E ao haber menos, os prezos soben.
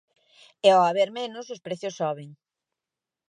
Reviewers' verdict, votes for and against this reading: accepted, 2, 0